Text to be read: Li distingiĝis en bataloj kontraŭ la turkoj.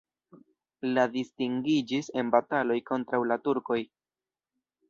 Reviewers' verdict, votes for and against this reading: rejected, 1, 2